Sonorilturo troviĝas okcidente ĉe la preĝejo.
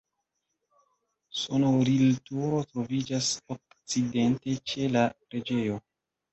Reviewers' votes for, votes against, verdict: 1, 2, rejected